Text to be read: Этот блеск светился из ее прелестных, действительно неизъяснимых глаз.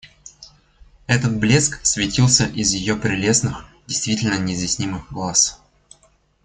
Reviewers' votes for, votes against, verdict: 2, 0, accepted